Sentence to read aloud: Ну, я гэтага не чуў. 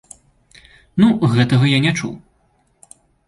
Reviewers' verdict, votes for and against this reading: accepted, 2, 1